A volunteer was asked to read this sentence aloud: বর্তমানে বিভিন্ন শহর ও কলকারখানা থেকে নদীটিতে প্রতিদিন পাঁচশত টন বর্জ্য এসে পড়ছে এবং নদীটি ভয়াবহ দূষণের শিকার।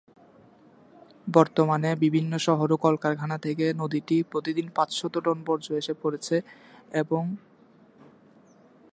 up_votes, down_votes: 0, 2